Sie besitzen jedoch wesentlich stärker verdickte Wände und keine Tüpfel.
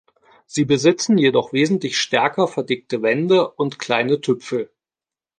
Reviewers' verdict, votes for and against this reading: rejected, 0, 2